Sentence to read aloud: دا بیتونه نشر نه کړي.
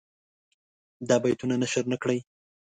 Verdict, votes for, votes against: accepted, 2, 1